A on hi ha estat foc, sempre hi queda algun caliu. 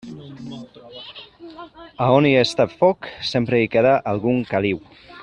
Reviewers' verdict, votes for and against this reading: rejected, 1, 2